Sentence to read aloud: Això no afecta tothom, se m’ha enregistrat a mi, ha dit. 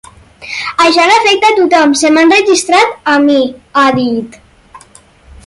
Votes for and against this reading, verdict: 4, 0, accepted